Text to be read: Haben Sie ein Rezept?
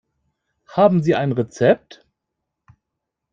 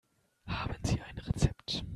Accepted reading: first